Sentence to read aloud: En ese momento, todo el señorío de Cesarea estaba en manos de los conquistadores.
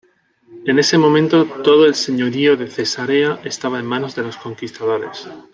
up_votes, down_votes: 2, 0